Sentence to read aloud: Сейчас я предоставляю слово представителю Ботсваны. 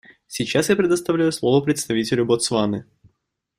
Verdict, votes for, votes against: accepted, 2, 0